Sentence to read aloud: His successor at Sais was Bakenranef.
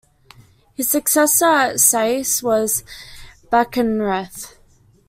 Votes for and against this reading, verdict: 1, 2, rejected